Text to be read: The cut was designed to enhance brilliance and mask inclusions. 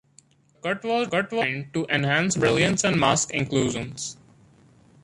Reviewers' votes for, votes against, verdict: 0, 2, rejected